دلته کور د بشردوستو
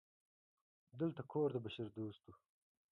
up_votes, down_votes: 1, 2